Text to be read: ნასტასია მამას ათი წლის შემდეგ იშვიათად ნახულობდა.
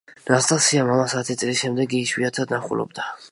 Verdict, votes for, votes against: rejected, 1, 2